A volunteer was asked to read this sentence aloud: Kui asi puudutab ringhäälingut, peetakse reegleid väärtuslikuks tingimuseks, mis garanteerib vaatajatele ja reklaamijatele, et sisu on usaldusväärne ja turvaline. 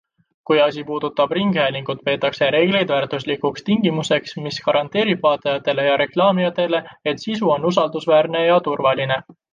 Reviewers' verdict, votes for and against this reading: accepted, 2, 0